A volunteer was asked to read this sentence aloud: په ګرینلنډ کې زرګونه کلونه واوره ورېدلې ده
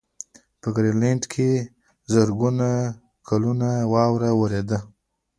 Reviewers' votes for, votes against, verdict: 1, 2, rejected